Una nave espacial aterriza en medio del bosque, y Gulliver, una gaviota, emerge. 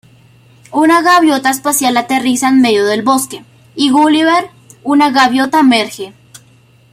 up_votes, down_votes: 1, 2